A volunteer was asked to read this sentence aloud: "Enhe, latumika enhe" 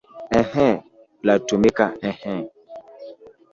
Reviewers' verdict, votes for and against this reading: rejected, 0, 2